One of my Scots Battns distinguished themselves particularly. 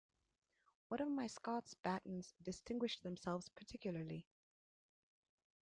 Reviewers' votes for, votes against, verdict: 1, 2, rejected